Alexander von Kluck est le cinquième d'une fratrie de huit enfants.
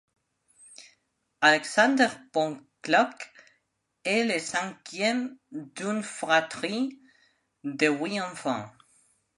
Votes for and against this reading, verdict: 0, 2, rejected